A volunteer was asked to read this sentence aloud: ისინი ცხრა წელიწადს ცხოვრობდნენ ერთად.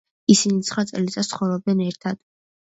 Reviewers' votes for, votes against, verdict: 2, 0, accepted